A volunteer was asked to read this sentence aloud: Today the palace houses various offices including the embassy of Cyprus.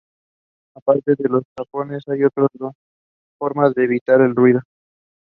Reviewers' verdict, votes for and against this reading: rejected, 0, 2